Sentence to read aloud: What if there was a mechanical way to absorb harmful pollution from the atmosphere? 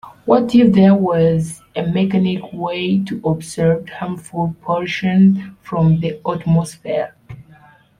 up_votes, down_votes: 0, 2